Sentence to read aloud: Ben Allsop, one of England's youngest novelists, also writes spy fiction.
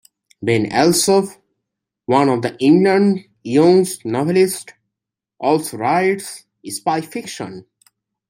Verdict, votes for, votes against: rejected, 0, 2